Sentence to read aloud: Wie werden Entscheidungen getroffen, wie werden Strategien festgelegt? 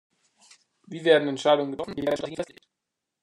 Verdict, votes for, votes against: rejected, 0, 2